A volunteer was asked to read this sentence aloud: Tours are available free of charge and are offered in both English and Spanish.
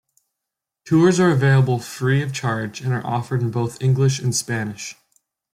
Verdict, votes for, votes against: accepted, 2, 0